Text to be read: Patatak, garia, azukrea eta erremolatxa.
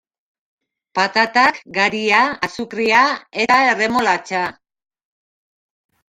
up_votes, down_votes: 1, 2